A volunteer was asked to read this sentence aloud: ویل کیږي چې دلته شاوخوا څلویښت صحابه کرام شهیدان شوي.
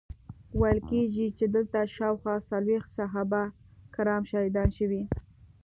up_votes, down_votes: 2, 0